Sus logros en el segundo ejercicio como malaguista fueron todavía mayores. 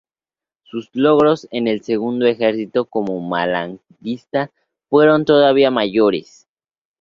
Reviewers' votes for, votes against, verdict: 0, 2, rejected